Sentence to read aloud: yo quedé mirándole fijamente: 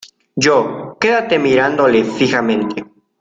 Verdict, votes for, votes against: rejected, 0, 2